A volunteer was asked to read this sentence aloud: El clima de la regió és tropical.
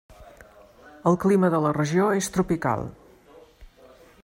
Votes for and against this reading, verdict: 3, 0, accepted